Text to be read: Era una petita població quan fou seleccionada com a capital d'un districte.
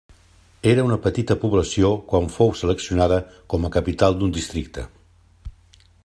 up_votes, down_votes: 3, 0